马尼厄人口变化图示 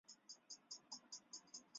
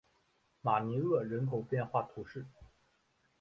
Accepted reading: second